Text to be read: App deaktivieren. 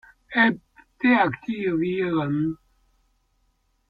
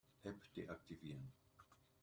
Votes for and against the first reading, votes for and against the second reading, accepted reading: 1, 2, 3, 0, second